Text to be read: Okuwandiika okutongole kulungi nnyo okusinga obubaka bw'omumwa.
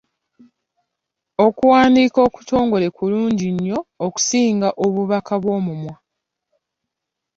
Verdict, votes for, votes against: accepted, 2, 0